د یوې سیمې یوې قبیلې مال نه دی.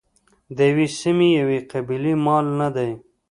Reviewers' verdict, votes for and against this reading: rejected, 1, 2